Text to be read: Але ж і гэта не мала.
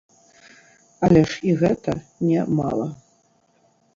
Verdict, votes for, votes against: rejected, 0, 2